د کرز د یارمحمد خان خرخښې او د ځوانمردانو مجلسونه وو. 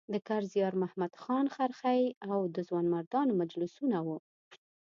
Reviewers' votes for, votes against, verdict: 1, 2, rejected